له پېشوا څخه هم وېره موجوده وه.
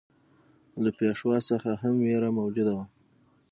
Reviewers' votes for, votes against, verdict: 6, 0, accepted